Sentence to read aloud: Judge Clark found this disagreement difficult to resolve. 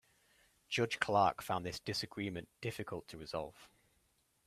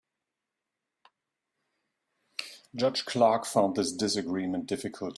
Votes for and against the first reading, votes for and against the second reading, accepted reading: 2, 0, 0, 2, first